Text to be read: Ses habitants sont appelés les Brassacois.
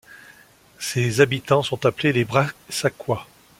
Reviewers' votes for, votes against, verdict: 2, 0, accepted